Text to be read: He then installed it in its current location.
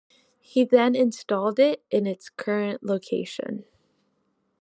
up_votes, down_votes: 1, 2